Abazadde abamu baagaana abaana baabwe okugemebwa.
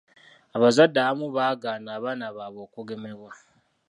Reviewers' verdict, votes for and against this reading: accepted, 2, 0